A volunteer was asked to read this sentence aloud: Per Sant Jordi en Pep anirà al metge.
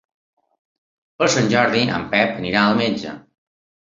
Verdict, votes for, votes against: rejected, 1, 2